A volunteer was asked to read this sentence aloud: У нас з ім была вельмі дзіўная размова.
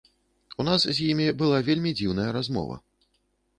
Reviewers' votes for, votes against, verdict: 0, 2, rejected